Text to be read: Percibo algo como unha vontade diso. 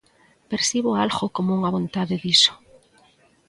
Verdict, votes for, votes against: accepted, 2, 0